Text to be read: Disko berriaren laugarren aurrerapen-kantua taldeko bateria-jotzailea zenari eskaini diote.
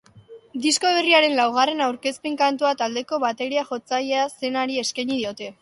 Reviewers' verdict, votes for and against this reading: rejected, 1, 2